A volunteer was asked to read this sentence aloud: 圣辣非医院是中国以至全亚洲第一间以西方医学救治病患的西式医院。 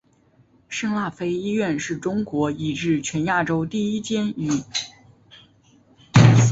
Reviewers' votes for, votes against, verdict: 0, 3, rejected